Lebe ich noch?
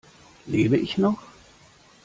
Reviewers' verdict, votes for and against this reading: accepted, 2, 0